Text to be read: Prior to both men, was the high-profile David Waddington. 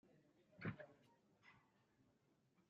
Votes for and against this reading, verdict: 0, 2, rejected